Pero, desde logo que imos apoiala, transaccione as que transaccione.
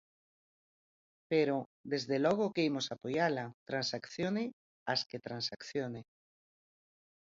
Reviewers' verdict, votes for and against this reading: accepted, 4, 0